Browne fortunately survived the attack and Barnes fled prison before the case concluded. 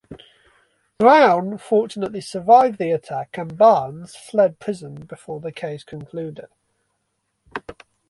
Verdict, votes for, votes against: rejected, 0, 2